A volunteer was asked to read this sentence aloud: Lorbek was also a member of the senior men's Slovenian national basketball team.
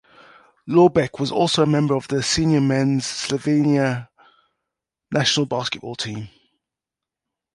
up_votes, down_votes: 1, 2